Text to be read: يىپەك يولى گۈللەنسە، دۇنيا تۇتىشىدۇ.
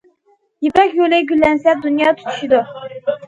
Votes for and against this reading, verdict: 2, 0, accepted